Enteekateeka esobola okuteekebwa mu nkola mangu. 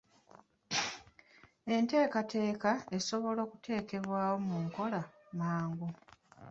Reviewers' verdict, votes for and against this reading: accepted, 2, 0